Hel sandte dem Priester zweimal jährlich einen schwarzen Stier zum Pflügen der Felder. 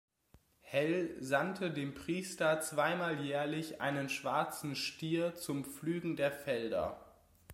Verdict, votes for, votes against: accepted, 2, 0